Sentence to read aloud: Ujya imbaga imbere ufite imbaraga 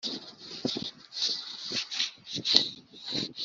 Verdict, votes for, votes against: rejected, 0, 3